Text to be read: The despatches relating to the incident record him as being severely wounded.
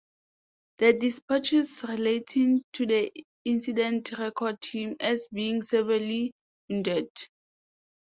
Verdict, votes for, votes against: accepted, 2, 0